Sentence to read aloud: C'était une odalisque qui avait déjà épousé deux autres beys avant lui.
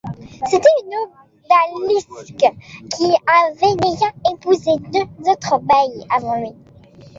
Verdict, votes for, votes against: rejected, 1, 2